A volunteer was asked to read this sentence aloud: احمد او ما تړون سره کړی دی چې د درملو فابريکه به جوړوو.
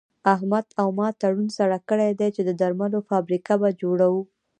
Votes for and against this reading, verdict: 2, 0, accepted